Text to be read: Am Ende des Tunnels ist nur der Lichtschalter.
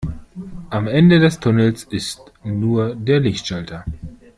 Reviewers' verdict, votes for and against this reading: accepted, 2, 0